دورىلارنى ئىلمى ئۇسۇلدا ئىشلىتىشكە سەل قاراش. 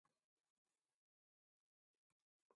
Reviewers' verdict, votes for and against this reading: rejected, 0, 2